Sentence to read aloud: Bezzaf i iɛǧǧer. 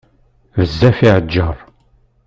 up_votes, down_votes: 1, 2